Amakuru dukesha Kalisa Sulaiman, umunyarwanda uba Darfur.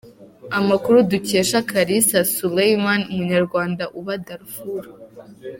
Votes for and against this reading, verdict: 2, 0, accepted